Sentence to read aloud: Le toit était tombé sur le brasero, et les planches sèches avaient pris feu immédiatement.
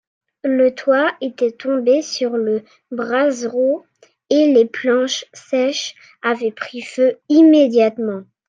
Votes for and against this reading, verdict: 2, 0, accepted